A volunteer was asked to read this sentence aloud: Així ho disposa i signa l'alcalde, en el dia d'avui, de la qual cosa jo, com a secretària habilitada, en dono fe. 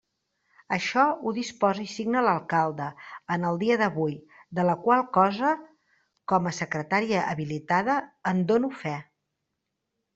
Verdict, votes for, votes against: rejected, 0, 2